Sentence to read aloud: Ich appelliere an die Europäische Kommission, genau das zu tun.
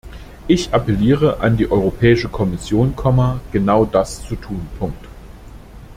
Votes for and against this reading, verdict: 0, 2, rejected